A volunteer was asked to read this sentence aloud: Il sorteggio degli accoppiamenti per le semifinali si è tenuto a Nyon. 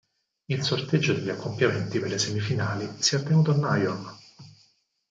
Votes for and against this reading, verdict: 0, 4, rejected